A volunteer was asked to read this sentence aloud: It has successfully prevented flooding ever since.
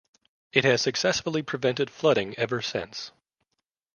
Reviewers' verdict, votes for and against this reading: accepted, 2, 1